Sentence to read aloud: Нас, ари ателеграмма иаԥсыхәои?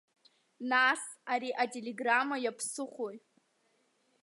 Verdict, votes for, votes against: accepted, 2, 1